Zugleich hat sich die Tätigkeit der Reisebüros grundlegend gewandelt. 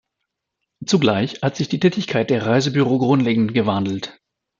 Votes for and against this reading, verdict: 1, 2, rejected